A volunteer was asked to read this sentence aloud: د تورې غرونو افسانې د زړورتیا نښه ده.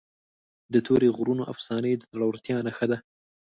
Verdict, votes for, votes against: accepted, 2, 0